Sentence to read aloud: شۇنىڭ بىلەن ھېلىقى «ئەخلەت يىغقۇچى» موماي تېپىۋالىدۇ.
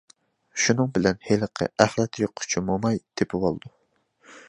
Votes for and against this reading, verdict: 2, 0, accepted